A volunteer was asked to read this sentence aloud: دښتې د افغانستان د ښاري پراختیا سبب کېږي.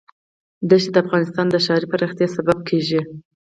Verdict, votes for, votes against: accepted, 4, 0